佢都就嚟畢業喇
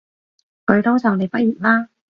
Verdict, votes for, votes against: accepted, 2, 0